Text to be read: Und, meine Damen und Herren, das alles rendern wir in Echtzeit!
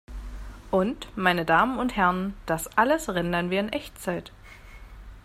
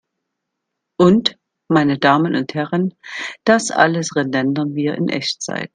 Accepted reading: first